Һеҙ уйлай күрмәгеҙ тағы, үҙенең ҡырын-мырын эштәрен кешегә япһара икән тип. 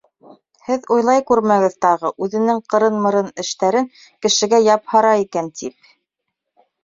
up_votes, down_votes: 3, 0